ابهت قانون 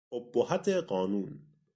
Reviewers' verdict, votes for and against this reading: accepted, 2, 0